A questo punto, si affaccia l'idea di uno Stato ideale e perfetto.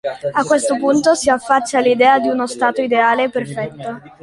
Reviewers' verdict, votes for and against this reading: accepted, 2, 0